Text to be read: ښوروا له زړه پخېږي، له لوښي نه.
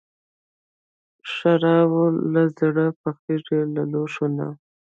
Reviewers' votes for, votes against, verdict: 0, 2, rejected